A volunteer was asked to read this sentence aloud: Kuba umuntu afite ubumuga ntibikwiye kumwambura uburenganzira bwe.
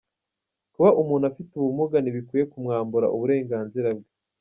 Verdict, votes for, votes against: rejected, 1, 2